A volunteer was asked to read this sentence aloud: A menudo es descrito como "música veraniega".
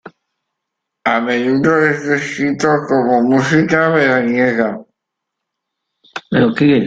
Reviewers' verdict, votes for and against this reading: rejected, 0, 2